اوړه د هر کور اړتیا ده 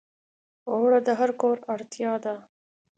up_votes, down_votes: 2, 0